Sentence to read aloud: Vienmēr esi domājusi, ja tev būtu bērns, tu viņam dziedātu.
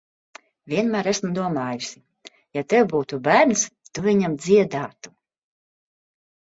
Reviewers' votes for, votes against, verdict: 1, 3, rejected